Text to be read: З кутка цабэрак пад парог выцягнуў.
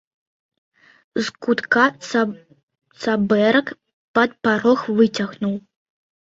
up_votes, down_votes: 0, 2